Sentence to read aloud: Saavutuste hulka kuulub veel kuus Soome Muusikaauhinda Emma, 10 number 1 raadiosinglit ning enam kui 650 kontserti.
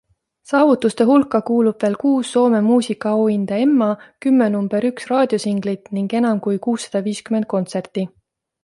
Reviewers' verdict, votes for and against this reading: rejected, 0, 2